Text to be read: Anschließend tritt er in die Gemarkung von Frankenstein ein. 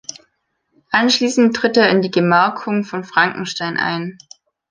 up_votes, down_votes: 2, 0